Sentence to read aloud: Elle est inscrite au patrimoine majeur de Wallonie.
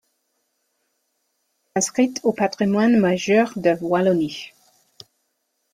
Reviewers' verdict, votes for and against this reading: rejected, 0, 2